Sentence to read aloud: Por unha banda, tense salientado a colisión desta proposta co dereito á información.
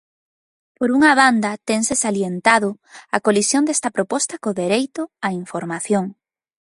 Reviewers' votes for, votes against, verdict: 2, 0, accepted